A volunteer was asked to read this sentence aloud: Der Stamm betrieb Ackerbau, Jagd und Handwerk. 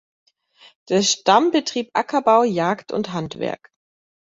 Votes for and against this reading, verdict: 2, 0, accepted